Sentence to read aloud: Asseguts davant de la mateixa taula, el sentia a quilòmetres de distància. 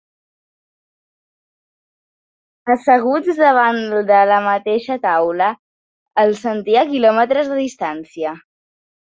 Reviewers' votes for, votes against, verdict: 7, 1, accepted